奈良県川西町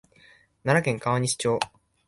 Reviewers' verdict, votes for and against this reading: accepted, 2, 0